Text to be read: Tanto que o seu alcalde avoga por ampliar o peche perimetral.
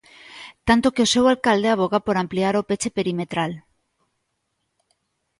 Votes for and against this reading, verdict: 2, 0, accepted